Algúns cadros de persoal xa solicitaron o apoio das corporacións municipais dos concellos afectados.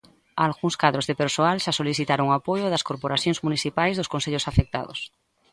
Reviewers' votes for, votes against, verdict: 2, 0, accepted